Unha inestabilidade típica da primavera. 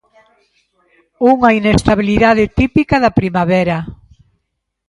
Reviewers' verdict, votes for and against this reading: accepted, 2, 0